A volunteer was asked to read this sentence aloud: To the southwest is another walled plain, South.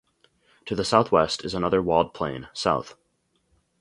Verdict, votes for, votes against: accepted, 4, 0